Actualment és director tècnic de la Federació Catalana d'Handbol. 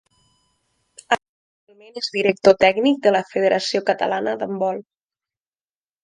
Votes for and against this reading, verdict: 1, 2, rejected